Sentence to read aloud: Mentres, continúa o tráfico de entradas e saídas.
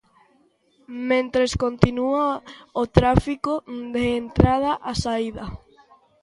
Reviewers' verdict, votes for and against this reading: rejected, 0, 2